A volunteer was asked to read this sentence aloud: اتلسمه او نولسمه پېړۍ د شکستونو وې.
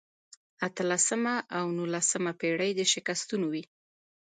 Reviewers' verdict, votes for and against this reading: accepted, 2, 1